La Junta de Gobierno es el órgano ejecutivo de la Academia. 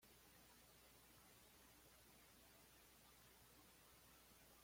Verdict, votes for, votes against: rejected, 1, 2